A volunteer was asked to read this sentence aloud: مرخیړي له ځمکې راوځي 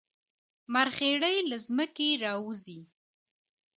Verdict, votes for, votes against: rejected, 1, 2